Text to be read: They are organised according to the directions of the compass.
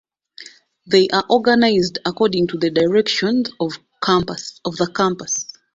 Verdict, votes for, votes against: rejected, 1, 2